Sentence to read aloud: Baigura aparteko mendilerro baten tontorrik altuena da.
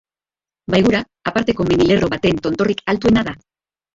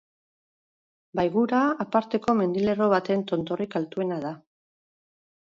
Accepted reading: second